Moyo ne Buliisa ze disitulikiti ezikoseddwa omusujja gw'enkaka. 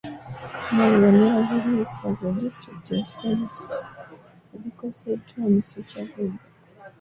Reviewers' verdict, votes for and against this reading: rejected, 0, 2